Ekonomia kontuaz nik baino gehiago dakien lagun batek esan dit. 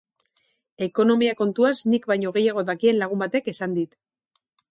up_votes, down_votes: 4, 0